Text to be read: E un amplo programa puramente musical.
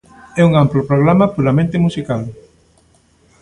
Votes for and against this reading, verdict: 2, 0, accepted